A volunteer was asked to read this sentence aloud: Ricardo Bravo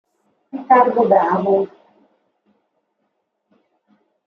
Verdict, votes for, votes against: accepted, 2, 0